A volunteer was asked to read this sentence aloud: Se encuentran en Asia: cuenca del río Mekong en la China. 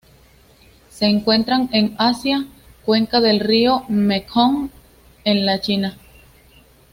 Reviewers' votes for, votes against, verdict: 2, 0, accepted